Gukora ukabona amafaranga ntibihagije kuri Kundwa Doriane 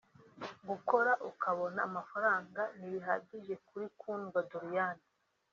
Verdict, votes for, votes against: rejected, 0, 2